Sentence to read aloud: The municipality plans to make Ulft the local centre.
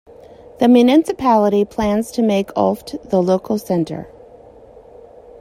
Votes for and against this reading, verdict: 0, 2, rejected